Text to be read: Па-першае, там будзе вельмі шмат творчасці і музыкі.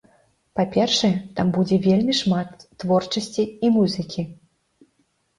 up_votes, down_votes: 2, 0